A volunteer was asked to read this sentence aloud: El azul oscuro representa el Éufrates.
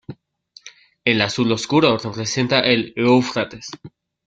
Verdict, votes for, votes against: rejected, 1, 2